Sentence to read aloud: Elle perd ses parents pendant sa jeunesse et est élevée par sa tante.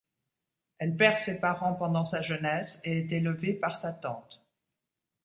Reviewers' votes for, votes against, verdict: 2, 0, accepted